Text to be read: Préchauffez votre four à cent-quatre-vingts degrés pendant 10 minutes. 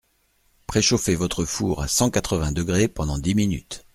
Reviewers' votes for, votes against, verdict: 0, 2, rejected